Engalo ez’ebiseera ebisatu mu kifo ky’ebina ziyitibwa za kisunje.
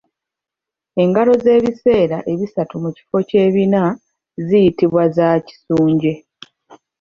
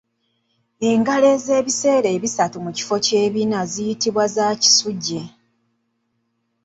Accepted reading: first